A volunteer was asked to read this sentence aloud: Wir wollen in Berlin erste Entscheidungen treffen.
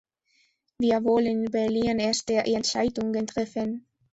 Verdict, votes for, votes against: rejected, 1, 2